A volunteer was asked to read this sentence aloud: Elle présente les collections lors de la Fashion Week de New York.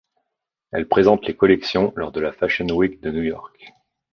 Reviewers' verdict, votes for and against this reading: accepted, 2, 0